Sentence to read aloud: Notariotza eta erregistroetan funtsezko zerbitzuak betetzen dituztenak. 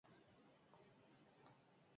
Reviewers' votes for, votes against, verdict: 0, 6, rejected